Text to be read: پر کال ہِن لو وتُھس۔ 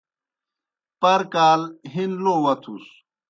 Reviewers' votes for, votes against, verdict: 2, 0, accepted